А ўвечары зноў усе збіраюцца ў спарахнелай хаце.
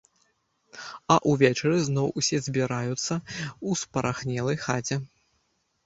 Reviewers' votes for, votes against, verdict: 0, 2, rejected